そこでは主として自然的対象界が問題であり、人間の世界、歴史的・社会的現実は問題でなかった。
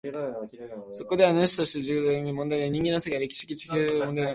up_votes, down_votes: 1, 2